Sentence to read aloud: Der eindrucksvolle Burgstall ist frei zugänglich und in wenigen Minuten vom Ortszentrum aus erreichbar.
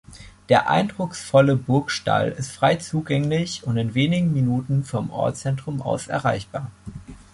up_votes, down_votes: 2, 0